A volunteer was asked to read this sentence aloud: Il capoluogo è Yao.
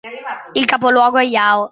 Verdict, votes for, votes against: accepted, 2, 0